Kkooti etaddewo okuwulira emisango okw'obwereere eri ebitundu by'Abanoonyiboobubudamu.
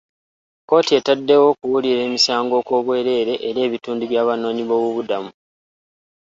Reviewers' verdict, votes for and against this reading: accepted, 2, 0